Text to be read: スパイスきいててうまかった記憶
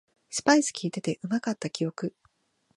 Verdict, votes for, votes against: accepted, 2, 0